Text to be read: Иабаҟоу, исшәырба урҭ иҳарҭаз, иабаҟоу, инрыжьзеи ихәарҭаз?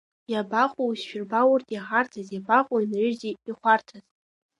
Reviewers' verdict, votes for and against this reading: accepted, 2, 1